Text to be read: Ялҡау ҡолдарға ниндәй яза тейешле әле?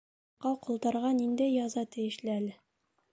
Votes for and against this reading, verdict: 0, 2, rejected